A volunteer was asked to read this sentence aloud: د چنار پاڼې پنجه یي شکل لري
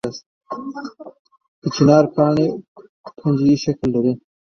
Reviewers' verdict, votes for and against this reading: accepted, 2, 1